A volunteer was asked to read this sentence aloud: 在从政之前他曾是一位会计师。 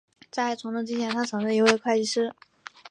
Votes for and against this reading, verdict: 2, 0, accepted